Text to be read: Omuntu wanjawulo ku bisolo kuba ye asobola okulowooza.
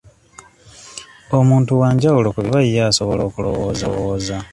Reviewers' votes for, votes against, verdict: 0, 2, rejected